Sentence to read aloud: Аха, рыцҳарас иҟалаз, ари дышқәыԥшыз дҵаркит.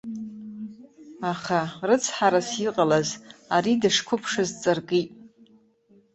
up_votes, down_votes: 0, 2